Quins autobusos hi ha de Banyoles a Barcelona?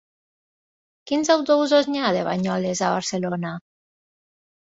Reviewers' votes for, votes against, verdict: 1, 2, rejected